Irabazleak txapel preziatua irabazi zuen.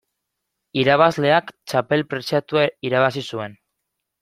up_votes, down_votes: 2, 0